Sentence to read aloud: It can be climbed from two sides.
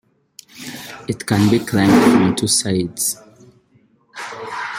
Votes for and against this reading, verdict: 0, 2, rejected